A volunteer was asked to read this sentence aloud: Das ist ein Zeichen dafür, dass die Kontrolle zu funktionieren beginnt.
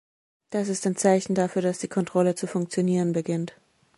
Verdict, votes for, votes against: accepted, 2, 0